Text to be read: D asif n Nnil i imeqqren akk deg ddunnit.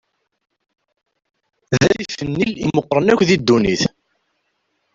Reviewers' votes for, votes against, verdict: 0, 2, rejected